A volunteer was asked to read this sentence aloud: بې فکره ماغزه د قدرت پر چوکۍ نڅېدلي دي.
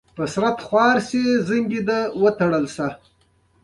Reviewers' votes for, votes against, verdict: 0, 2, rejected